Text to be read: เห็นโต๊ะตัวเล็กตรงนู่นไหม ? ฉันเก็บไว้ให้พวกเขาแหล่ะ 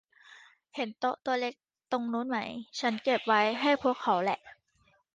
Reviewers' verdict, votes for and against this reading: rejected, 1, 2